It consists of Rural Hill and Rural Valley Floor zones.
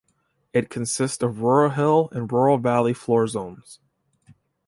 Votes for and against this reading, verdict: 2, 0, accepted